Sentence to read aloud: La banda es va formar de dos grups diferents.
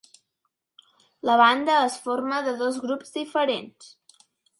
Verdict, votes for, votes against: rejected, 1, 2